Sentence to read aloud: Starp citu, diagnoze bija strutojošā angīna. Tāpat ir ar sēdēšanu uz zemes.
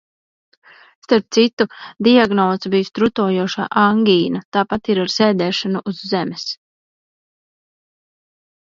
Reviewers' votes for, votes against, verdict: 1, 2, rejected